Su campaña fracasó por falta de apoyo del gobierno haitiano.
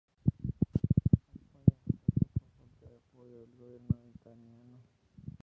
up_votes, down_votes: 0, 4